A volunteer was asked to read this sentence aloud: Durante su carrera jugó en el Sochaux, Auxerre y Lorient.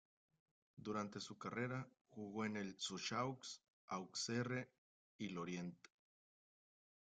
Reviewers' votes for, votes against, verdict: 0, 2, rejected